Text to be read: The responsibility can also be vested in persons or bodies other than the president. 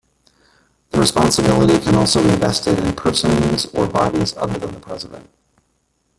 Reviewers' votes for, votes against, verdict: 0, 2, rejected